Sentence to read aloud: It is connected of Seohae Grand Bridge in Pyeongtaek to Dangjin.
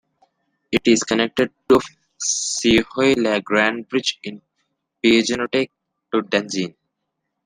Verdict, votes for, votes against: rejected, 0, 3